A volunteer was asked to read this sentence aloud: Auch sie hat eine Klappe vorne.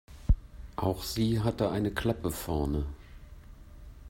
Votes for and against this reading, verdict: 1, 2, rejected